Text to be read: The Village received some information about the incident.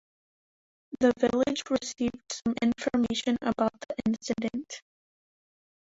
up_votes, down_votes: 1, 2